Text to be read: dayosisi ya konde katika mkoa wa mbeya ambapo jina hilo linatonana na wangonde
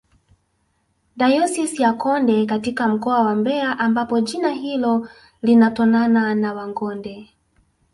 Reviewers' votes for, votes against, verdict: 3, 0, accepted